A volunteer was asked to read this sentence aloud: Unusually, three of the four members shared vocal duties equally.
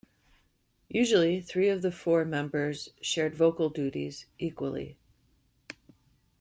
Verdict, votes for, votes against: rejected, 0, 2